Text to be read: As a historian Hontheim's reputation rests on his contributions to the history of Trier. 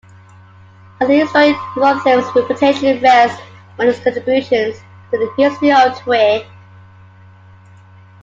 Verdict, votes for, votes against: rejected, 0, 2